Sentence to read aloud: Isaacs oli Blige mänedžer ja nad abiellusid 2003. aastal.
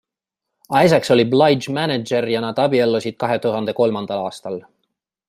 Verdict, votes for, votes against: rejected, 0, 2